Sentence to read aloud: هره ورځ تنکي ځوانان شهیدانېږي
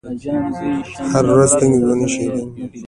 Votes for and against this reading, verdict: 1, 2, rejected